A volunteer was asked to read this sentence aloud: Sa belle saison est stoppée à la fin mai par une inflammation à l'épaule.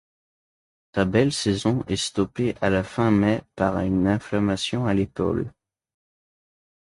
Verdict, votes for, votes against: accepted, 2, 1